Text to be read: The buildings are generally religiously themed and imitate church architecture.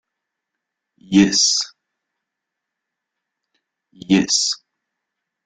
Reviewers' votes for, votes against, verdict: 0, 2, rejected